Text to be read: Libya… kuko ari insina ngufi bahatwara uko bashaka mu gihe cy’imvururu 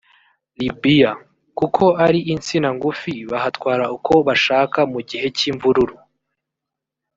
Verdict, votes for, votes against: rejected, 1, 2